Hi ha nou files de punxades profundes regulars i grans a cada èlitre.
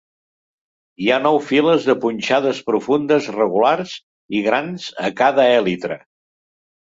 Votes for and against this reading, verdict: 3, 0, accepted